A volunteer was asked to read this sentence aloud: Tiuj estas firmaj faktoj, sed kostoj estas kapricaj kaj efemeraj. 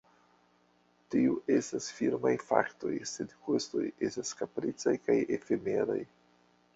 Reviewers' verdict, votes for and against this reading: accepted, 2, 1